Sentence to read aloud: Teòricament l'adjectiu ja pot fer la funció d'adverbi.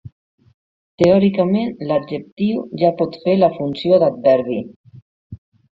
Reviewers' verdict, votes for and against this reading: accepted, 3, 0